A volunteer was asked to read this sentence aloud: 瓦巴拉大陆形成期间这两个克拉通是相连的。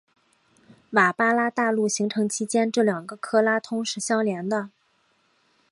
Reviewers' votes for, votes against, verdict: 2, 0, accepted